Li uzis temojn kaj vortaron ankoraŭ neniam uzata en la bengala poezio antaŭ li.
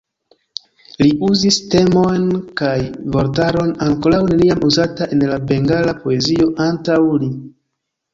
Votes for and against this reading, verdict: 1, 2, rejected